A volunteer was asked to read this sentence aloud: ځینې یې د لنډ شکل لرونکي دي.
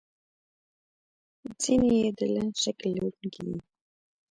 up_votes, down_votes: 2, 1